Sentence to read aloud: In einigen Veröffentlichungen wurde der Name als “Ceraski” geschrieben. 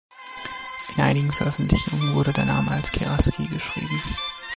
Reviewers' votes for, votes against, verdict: 1, 2, rejected